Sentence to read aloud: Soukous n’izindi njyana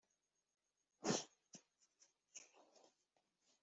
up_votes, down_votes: 0, 2